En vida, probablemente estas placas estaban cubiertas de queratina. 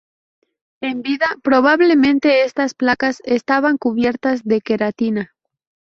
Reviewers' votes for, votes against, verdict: 0, 2, rejected